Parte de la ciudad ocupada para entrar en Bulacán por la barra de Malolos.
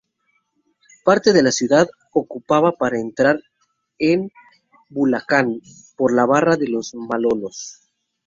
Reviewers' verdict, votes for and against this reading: rejected, 0, 4